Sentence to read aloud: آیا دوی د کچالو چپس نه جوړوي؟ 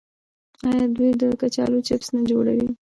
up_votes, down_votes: 0, 2